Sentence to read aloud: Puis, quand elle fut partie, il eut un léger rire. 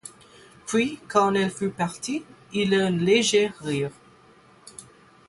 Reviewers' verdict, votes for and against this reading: rejected, 0, 8